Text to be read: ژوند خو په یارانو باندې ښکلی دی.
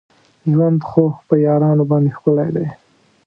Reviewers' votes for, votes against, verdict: 1, 2, rejected